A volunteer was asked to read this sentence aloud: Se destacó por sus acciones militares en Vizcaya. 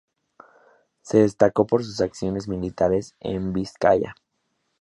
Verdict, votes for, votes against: accepted, 2, 0